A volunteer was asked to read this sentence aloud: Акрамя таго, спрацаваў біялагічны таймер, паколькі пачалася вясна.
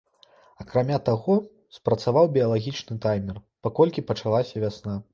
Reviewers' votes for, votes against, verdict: 2, 0, accepted